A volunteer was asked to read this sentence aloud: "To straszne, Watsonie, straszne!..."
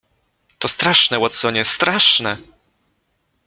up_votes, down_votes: 2, 0